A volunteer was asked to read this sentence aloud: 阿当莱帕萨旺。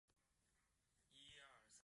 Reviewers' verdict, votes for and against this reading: rejected, 0, 4